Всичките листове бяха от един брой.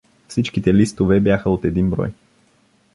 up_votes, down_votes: 2, 0